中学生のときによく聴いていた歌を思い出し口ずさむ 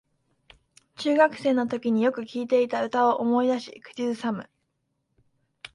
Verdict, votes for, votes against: accepted, 2, 0